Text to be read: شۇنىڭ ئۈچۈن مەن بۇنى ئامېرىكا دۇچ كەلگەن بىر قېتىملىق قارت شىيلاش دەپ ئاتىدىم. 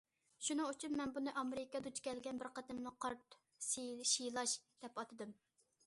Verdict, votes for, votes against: rejected, 1, 2